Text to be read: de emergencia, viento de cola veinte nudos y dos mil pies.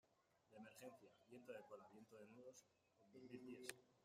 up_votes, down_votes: 0, 2